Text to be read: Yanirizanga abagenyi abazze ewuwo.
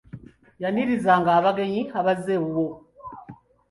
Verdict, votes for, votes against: accepted, 2, 1